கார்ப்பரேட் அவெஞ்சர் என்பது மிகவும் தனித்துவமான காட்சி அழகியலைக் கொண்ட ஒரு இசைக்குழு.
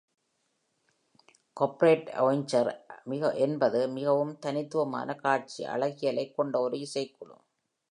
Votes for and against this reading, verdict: 1, 2, rejected